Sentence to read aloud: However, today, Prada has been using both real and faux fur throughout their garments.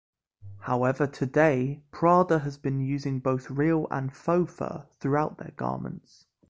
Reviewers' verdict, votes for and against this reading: accepted, 2, 0